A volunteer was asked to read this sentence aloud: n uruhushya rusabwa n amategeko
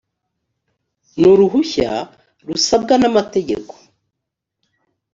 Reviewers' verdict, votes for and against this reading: accepted, 2, 0